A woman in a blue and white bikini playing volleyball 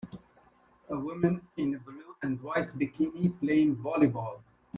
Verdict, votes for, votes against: accepted, 2, 1